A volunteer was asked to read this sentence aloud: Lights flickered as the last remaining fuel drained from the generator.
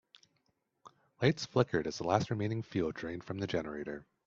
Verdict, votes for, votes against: accepted, 3, 0